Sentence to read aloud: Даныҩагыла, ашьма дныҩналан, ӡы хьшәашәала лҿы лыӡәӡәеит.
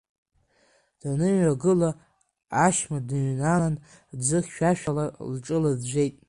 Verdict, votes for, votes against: rejected, 0, 2